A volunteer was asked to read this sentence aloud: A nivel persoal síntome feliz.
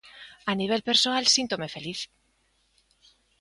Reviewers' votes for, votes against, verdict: 2, 0, accepted